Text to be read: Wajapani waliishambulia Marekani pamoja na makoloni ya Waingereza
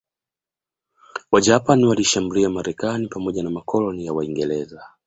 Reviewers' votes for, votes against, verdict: 2, 0, accepted